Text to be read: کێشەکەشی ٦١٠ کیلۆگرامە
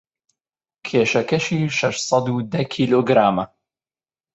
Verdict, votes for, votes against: rejected, 0, 2